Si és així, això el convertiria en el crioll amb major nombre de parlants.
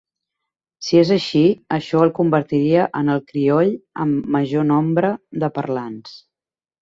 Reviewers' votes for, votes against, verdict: 4, 0, accepted